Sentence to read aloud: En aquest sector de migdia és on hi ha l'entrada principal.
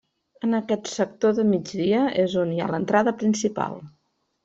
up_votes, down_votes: 2, 0